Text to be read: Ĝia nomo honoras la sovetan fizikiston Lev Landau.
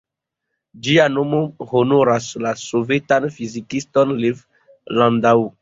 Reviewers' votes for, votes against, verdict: 3, 0, accepted